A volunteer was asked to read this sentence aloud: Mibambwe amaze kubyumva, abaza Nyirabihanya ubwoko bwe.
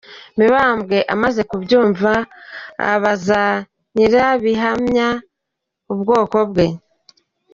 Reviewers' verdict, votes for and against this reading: rejected, 1, 2